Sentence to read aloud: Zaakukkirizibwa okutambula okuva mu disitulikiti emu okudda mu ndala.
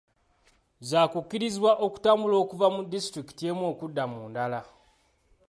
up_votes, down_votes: 2, 0